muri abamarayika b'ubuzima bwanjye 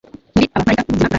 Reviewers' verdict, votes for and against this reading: rejected, 0, 2